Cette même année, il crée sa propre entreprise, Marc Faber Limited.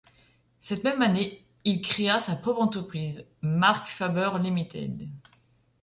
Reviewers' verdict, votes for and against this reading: rejected, 0, 2